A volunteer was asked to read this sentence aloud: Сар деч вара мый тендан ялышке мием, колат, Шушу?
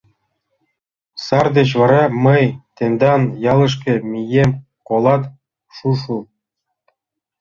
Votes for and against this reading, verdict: 2, 0, accepted